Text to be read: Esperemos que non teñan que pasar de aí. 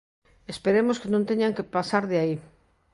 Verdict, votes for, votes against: accepted, 2, 0